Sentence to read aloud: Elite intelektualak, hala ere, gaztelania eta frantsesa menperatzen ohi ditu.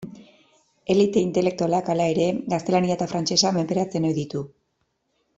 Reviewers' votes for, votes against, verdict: 2, 0, accepted